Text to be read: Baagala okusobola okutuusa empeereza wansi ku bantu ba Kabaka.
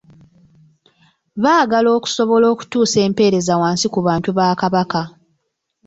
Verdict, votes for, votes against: rejected, 1, 2